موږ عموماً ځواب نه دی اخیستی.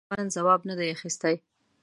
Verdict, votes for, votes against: rejected, 1, 2